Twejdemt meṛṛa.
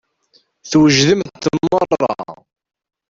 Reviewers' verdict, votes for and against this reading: rejected, 1, 2